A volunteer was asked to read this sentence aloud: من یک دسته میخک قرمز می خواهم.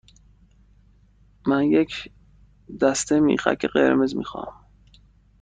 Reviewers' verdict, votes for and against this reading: accepted, 2, 0